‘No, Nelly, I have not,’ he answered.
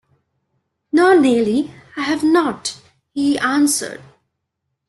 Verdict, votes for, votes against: rejected, 1, 2